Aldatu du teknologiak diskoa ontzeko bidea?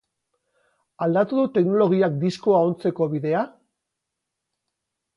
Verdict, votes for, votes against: accepted, 2, 0